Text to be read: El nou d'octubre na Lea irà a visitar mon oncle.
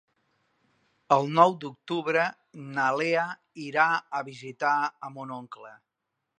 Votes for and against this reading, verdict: 0, 2, rejected